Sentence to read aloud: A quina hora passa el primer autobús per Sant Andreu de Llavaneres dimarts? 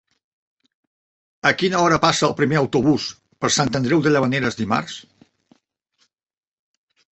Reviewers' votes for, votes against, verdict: 3, 0, accepted